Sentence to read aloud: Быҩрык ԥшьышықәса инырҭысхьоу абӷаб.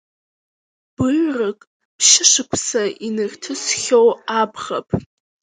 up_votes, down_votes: 1, 2